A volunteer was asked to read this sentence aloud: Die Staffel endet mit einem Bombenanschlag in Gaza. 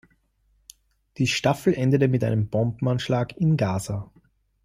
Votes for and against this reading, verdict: 0, 2, rejected